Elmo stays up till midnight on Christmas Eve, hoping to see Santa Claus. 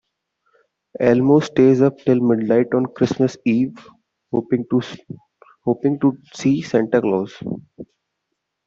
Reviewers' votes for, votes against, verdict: 0, 2, rejected